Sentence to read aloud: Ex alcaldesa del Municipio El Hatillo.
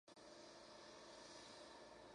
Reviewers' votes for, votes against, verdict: 0, 2, rejected